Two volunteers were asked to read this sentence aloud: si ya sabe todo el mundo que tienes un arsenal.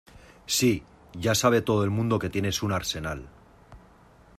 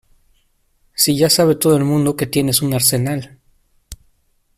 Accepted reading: second